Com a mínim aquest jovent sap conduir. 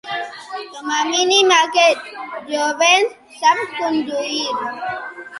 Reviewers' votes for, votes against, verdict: 1, 2, rejected